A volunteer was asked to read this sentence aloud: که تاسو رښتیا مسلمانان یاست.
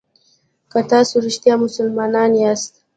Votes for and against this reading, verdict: 2, 0, accepted